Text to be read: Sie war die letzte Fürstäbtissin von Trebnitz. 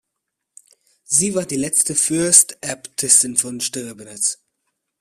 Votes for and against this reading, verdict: 1, 2, rejected